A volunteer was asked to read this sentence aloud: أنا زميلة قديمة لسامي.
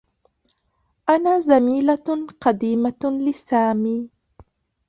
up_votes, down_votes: 0, 2